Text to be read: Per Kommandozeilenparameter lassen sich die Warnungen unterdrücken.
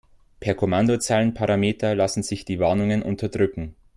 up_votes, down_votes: 2, 0